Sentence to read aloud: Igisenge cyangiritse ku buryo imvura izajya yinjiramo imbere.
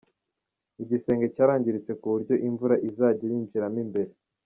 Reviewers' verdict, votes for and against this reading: rejected, 1, 2